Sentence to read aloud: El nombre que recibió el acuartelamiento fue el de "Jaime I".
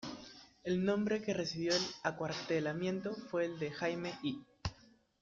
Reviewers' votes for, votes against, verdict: 0, 2, rejected